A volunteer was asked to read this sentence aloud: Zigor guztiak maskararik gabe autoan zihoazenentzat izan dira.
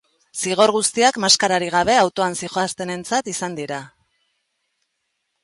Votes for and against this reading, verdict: 1, 2, rejected